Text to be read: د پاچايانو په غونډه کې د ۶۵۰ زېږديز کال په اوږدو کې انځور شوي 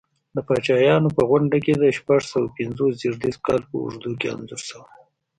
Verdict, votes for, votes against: rejected, 0, 2